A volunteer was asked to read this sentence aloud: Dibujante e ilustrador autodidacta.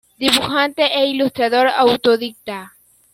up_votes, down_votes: 0, 2